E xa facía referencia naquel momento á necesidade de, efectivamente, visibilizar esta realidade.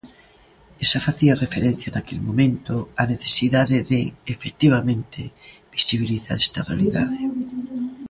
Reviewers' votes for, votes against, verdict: 0, 2, rejected